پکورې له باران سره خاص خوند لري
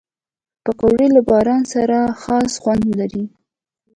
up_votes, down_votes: 2, 0